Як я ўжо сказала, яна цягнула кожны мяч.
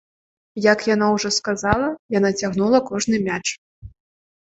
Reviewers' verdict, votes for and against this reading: rejected, 0, 2